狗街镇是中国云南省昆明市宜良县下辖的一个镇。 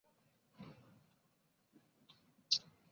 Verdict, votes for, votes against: rejected, 0, 2